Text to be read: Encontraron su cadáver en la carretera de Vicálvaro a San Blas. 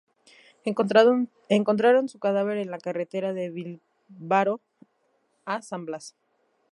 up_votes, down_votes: 0, 2